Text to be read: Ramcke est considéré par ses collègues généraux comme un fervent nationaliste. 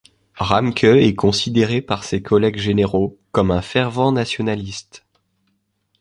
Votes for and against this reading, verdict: 2, 0, accepted